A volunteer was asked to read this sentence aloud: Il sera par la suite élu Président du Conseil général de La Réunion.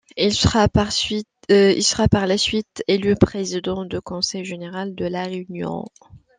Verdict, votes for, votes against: rejected, 0, 2